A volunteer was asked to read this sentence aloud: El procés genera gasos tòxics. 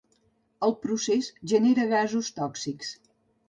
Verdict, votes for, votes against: accepted, 3, 0